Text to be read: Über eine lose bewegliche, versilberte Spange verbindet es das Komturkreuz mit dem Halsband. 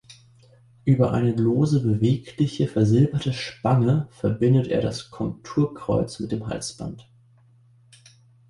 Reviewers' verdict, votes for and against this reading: rejected, 0, 2